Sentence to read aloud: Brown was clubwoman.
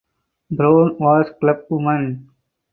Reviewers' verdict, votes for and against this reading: accepted, 4, 0